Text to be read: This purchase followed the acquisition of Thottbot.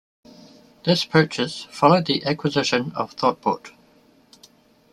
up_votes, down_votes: 2, 0